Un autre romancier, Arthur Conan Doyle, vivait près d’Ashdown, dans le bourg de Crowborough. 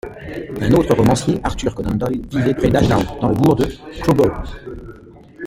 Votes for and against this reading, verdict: 2, 0, accepted